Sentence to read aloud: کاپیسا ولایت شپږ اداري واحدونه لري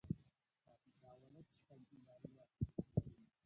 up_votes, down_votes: 0, 2